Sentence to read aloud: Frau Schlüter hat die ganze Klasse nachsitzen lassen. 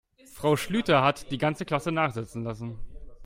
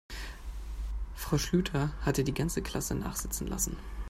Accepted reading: first